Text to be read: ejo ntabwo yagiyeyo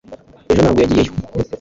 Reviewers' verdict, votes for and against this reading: accepted, 2, 0